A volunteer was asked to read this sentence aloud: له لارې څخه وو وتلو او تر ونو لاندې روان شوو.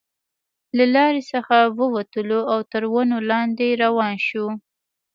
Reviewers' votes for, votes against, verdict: 2, 0, accepted